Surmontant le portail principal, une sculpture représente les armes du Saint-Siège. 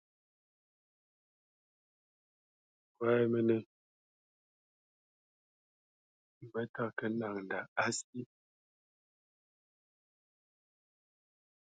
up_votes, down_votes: 1, 2